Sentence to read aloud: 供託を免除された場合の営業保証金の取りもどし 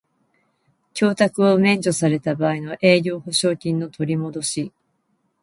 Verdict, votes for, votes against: accepted, 2, 0